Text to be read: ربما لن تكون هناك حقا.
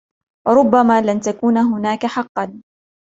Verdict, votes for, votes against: accepted, 2, 0